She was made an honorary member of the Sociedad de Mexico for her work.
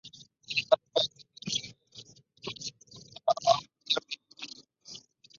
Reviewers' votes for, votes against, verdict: 2, 0, accepted